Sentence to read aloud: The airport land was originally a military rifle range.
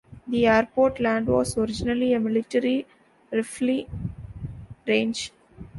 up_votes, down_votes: 0, 2